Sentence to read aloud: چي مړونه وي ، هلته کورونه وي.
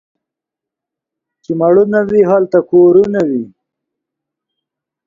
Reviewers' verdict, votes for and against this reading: accepted, 2, 1